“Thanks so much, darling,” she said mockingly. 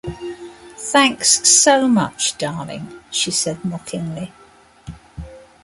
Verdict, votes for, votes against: accepted, 2, 1